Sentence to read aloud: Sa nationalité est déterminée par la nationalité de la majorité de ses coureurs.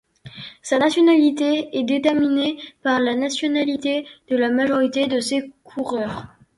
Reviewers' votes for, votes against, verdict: 3, 0, accepted